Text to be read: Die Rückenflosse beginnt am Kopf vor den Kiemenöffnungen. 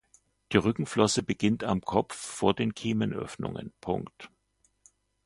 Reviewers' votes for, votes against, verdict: 2, 1, accepted